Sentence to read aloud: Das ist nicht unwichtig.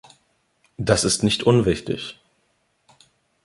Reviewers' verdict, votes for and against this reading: accepted, 2, 0